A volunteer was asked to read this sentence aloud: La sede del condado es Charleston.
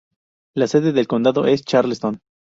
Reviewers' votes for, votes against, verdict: 2, 0, accepted